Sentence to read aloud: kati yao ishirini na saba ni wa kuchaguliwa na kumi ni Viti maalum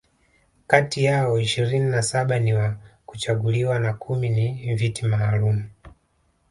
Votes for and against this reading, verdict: 2, 0, accepted